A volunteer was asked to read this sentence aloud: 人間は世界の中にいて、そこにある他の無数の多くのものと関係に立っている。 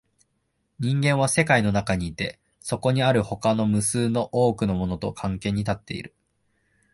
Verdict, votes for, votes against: accepted, 4, 0